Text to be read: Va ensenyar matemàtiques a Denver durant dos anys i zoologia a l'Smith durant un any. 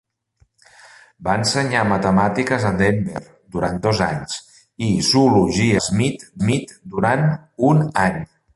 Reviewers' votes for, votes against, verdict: 0, 2, rejected